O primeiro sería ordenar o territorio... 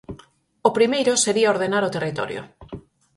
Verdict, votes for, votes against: accepted, 4, 0